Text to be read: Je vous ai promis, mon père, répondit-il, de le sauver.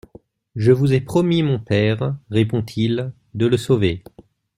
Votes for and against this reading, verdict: 0, 2, rejected